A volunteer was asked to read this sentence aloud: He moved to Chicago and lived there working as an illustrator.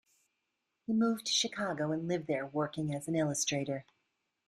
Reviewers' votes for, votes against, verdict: 0, 2, rejected